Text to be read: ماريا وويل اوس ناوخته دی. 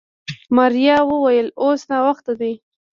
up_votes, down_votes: 2, 0